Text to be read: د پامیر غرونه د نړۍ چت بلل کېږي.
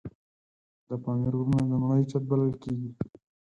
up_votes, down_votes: 4, 2